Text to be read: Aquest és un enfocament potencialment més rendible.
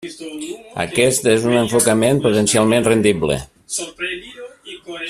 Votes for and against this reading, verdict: 0, 2, rejected